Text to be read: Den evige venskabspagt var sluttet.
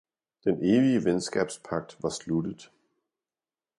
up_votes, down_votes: 2, 0